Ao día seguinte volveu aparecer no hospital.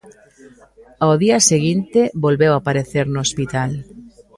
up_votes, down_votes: 1, 2